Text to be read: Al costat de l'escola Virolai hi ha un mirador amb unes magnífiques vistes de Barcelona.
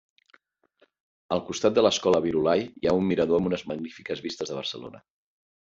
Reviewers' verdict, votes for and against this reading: accepted, 2, 0